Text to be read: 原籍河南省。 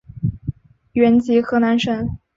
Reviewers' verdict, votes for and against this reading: accepted, 2, 0